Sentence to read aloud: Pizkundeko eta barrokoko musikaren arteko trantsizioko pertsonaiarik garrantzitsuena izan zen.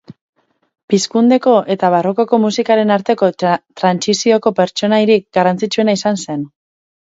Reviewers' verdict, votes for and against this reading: rejected, 0, 4